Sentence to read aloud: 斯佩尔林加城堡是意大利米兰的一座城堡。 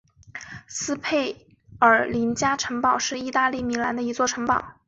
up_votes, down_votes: 2, 0